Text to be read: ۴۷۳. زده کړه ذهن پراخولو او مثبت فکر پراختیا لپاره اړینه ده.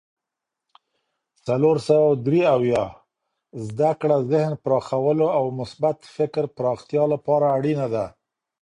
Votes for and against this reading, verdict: 0, 2, rejected